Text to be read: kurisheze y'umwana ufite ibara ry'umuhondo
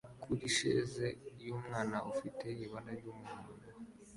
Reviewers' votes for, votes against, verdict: 2, 0, accepted